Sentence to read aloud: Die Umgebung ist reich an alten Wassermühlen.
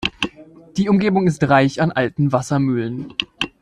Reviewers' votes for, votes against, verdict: 3, 0, accepted